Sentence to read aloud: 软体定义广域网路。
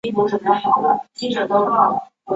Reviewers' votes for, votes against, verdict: 0, 2, rejected